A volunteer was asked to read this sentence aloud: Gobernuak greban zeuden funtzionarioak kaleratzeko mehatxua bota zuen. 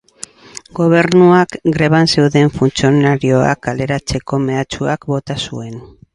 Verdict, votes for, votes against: rejected, 2, 2